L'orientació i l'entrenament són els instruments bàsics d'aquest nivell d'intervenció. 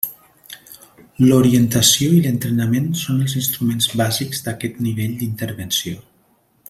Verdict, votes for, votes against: accepted, 3, 0